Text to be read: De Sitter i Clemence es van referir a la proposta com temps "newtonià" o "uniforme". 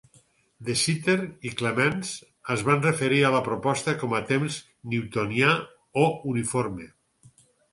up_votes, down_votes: 4, 0